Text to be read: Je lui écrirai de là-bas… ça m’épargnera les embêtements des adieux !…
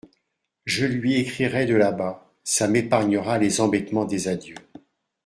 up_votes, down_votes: 2, 0